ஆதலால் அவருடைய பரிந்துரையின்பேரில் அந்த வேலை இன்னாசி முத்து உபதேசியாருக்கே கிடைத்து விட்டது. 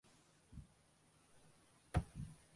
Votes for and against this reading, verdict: 0, 2, rejected